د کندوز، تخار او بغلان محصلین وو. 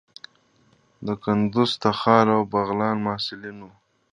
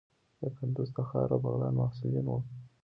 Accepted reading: first